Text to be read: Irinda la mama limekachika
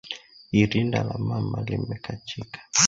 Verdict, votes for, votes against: accepted, 2, 0